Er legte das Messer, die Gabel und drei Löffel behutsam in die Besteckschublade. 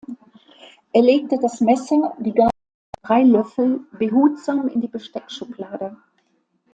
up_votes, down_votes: 1, 2